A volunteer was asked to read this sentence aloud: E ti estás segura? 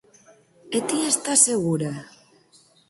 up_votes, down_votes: 4, 0